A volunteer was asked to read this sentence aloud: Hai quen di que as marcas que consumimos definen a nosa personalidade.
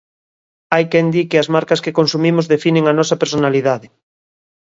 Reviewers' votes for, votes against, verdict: 2, 0, accepted